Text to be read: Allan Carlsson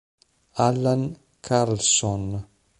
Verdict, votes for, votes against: accepted, 2, 0